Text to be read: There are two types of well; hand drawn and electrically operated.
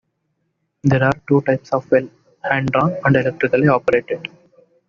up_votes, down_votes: 2, 1